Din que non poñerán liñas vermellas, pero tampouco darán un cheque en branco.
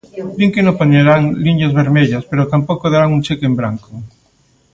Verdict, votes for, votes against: rejected, 0, 2